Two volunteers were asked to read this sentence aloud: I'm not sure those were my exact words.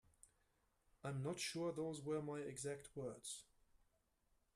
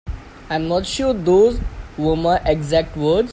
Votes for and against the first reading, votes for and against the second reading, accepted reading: 2, 0, 1, 2, first